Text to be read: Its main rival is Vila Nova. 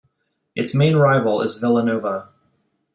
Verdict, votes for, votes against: accepted, 2, 0